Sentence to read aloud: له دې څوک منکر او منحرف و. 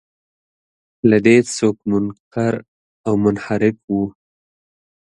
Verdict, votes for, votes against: accepted, 2, 0